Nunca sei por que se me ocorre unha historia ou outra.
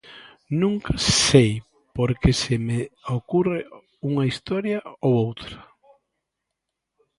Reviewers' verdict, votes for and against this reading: rejected, 0, 3